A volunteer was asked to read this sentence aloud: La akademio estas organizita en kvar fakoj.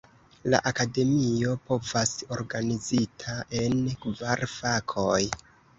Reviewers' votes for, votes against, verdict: 0, 2, rejected